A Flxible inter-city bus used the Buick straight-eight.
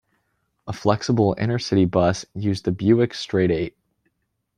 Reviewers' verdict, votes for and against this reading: rejected, 0, 2